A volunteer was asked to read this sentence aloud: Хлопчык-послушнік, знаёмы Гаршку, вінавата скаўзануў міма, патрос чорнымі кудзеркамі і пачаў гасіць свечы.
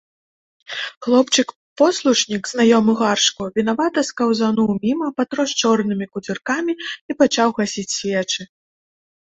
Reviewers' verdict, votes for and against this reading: rejected, 1, 2